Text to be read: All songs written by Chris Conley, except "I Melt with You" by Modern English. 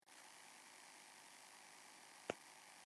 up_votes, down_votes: 0, 2